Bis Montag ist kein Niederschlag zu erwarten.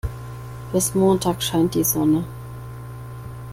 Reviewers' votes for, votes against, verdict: 0, 2, rejected